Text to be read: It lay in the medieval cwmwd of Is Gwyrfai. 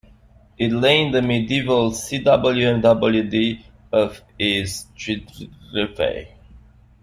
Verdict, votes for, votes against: rejected, 1, 2